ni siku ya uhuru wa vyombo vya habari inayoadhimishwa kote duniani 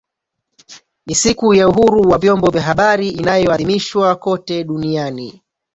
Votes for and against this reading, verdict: 0, 2, rejected